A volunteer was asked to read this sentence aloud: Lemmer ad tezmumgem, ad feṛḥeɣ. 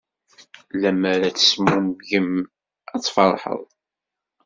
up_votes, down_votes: 1, 2